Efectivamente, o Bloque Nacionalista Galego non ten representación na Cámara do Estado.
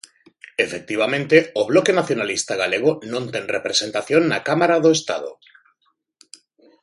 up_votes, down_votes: 2, 0